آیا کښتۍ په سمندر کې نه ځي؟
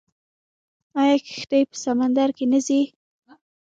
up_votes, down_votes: 2, 1